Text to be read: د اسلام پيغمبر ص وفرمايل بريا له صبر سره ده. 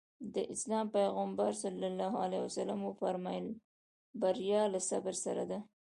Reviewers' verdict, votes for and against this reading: accepted, 3, 0